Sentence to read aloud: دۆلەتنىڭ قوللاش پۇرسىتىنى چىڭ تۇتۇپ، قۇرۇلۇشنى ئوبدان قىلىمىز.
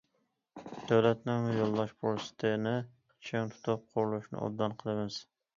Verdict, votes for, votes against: rejected, 0, 2